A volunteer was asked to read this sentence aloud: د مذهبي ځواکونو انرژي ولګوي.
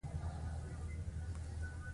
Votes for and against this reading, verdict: 1, 2, rejected